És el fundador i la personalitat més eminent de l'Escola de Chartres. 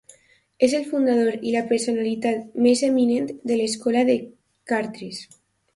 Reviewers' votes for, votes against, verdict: 1, 2, rejected